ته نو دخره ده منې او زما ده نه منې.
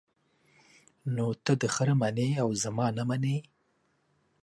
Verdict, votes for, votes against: rejected, 1, 2